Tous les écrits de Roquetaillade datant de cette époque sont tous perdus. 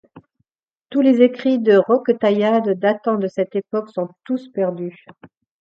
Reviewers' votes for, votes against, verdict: 2, 0, accepted